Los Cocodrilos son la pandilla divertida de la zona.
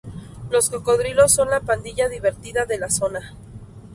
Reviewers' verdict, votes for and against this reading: accepted, 2, 0